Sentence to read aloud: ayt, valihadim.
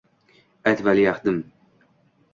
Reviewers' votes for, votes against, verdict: 1, 2, rejected